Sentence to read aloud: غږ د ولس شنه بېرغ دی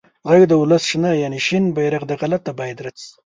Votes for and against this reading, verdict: 1, 2, rejected